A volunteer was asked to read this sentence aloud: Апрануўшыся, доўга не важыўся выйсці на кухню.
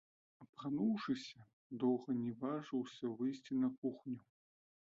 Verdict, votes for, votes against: rejected, 0, 2